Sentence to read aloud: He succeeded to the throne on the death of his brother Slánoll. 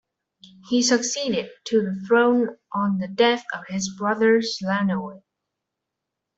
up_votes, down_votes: 2, 1